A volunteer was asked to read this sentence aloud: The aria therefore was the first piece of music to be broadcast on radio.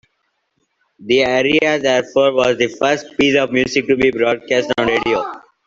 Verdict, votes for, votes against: accepted, 2, 1